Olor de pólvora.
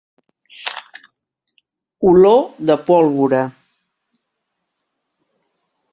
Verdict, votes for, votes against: accepted, 3, 0